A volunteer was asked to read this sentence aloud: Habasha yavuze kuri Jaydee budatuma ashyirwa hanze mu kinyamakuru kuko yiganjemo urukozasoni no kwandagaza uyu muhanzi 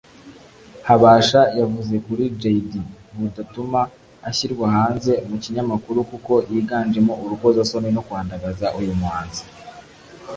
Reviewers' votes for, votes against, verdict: 0, 2, rejected